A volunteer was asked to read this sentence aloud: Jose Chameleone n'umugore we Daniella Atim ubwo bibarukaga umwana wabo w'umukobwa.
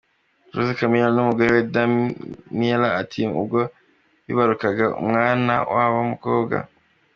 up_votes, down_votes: 2, 0